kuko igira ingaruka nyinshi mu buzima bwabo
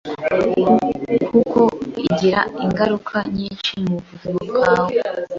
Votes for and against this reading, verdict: 3, 1, accepted